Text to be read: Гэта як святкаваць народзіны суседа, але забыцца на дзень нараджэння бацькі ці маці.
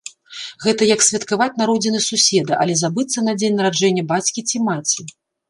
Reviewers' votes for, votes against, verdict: 2, 0, accepted